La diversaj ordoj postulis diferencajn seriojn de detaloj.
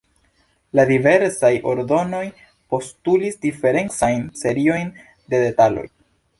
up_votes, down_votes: 1, 2